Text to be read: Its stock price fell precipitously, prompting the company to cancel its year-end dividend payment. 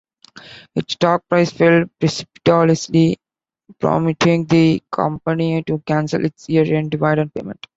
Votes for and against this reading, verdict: 2, 1, accepted